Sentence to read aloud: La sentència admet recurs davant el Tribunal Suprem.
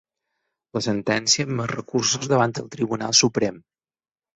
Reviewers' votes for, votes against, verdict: 2, 4, rejected